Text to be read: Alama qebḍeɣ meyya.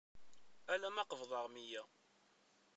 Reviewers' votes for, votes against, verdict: 1, 2, rejected